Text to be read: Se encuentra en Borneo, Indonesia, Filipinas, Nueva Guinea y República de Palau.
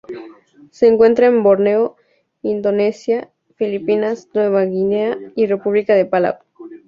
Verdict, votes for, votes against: accepted, 2, 0